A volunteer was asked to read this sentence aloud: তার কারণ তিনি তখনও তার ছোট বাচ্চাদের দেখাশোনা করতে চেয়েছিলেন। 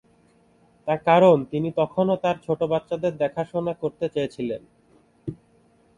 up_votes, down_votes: 3, 0